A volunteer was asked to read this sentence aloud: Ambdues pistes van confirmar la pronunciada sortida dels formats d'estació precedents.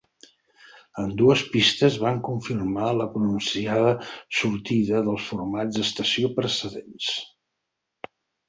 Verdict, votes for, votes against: accepted, 4, 0